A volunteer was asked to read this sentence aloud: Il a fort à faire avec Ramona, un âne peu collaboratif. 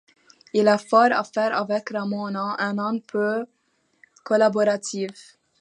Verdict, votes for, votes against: accepted, 2, 0